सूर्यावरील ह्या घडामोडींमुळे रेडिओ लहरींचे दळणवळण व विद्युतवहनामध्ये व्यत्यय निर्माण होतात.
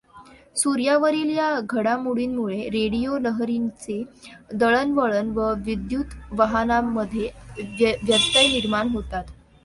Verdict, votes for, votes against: rejected, 1, 2